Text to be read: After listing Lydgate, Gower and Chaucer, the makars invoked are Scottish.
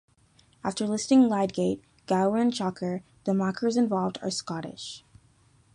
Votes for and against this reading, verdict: 2, 0, accepted